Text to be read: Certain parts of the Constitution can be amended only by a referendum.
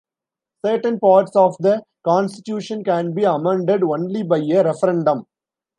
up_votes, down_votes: 1, 2